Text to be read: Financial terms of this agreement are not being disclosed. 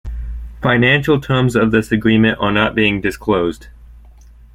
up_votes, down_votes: 2, 0